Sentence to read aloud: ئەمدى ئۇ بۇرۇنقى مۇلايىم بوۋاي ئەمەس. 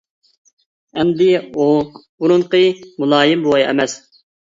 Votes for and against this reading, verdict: 2, 0, accepted